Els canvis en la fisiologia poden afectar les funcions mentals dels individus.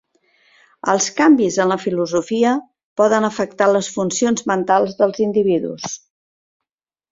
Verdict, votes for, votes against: rejected, 1, 2